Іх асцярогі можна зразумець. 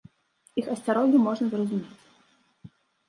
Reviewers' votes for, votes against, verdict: 2, 0, accepted